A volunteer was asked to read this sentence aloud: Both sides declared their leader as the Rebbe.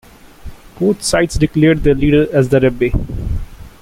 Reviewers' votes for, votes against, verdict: 2, 0, accepted